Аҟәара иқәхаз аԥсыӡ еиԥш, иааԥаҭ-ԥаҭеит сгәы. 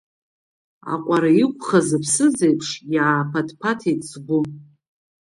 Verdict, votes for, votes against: accepted, 2, 1